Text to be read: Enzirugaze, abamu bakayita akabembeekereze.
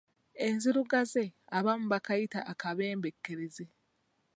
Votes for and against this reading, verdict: 1, 2, rejected